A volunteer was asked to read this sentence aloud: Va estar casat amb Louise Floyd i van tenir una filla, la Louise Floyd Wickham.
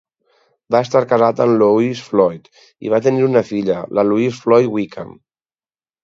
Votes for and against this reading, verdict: 2, 2, rejected